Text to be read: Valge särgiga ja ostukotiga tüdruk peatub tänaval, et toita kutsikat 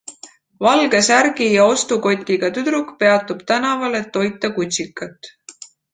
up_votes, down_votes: 2, 1